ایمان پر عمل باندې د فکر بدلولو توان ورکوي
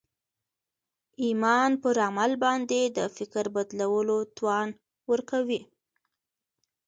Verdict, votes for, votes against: accepted, 2, 1